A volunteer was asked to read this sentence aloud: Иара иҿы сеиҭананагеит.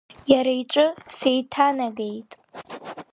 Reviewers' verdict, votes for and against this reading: rejected, 0, 2